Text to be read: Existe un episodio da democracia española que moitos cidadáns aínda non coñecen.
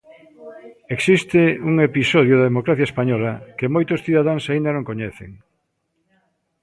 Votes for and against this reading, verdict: 1, 2, rejected